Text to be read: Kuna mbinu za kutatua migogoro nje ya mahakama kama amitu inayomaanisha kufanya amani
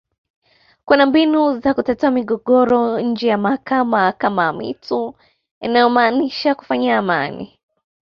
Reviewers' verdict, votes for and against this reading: accepted, 2, 0